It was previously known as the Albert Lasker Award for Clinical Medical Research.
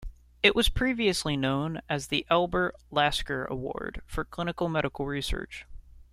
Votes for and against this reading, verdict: 2, 0, accepted